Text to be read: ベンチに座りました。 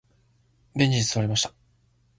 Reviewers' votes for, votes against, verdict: 2, 0, accepted